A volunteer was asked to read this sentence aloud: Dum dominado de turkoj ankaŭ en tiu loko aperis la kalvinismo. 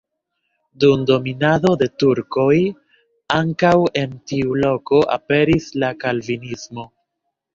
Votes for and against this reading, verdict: 1, 2, rejected